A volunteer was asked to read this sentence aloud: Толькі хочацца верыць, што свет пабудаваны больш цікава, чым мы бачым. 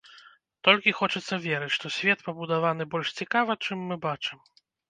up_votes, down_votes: 2, 0